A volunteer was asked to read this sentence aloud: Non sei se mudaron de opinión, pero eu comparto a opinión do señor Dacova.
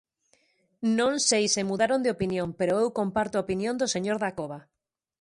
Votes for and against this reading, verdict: 2, 0, accepted